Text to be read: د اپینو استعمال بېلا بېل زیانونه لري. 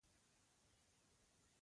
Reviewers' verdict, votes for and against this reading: rejected, 1, 2